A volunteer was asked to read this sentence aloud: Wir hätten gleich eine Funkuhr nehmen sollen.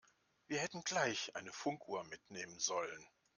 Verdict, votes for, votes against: rejected, 1, 2